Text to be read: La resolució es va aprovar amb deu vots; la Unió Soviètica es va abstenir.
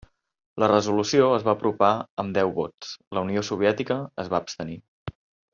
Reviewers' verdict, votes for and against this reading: rejected, 1, 2